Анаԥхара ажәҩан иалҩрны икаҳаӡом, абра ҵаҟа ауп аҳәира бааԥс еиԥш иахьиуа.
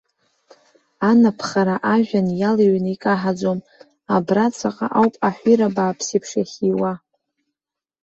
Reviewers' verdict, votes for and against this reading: rejected, 0, 2